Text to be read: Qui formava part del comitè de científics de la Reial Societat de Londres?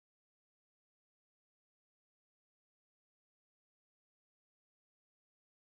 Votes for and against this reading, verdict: 0, 2, rejected